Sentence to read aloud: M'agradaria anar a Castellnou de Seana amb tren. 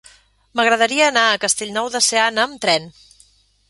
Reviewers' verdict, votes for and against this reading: accepted, 3, 0